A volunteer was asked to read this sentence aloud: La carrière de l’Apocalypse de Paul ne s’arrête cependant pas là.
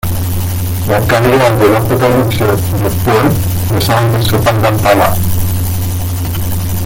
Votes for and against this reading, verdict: 0, 2, rejected